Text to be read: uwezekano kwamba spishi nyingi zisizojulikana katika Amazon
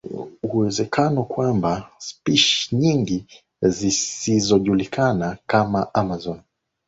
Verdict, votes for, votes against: rejected, 1, 3